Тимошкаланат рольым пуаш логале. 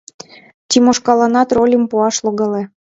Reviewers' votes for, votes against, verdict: 2, 1, accepted